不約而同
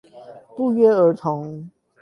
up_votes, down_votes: 4, 8